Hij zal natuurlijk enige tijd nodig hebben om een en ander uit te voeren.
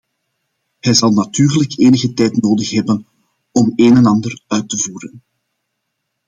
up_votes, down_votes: 2, 1